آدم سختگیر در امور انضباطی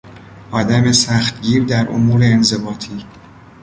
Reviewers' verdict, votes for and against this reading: accepted, 2, 0